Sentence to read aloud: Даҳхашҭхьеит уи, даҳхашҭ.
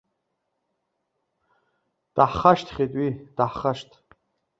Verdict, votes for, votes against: accepted, 2, 0